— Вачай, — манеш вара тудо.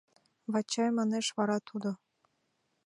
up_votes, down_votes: 2, 0